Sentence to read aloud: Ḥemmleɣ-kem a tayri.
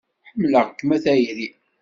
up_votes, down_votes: 2, 0